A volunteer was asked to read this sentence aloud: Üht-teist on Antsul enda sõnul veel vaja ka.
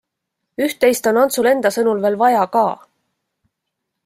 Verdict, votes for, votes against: accepted, 2, 0